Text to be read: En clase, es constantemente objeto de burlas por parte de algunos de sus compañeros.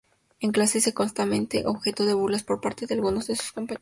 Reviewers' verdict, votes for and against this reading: accepted, 2, 0